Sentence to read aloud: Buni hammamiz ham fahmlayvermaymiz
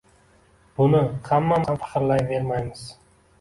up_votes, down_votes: 0, 2